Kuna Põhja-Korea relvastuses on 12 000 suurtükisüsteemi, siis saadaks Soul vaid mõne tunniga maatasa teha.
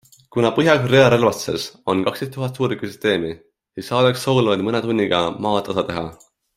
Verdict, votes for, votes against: rejected, 0, 2